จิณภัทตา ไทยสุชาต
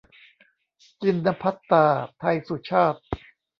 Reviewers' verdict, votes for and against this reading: rejected, 1, 2